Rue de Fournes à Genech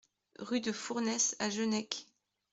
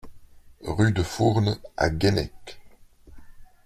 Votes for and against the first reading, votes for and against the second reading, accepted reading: 2, 0, 1, 2, first